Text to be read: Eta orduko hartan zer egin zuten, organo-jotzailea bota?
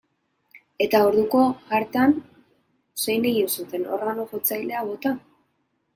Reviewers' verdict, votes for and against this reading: rejected, 0, 2